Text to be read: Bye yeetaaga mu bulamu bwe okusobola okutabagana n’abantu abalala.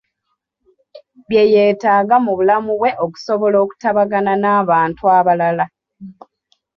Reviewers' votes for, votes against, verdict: 1, 2, rejected